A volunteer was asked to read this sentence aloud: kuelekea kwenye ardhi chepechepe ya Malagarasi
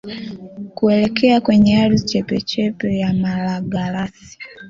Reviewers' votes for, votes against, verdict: 2, 1, accepted